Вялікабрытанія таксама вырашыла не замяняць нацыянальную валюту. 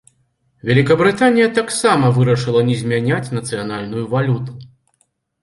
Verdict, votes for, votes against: rejected, 2, 3